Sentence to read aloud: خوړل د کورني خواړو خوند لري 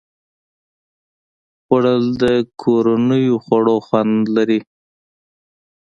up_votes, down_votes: 2, 0